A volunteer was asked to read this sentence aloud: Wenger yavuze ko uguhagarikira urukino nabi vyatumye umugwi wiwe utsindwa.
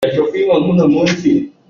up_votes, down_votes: 0, 2